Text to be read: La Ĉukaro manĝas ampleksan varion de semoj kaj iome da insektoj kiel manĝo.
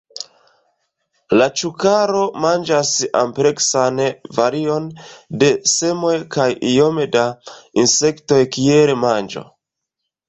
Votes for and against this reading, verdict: 2, 1, accepted